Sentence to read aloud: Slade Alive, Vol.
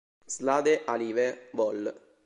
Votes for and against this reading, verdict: 1, 2, rejected